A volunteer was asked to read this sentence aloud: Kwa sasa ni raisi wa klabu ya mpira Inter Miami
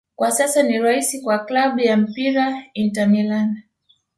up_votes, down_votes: 0, 2